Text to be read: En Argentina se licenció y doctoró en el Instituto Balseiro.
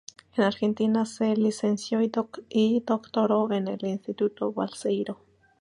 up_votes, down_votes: 0, 2